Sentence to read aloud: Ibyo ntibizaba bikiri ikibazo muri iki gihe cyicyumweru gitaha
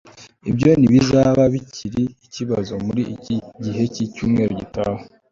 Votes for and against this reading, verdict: 3, 0, accepted